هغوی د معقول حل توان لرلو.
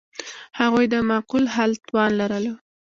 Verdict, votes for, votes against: accepted, 2, 1